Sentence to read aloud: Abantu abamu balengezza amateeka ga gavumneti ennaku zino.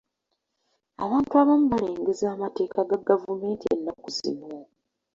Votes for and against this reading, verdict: 2, 0, accepted